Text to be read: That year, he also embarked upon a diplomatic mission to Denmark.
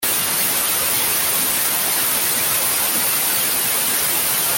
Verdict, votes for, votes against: rejected, 0, 2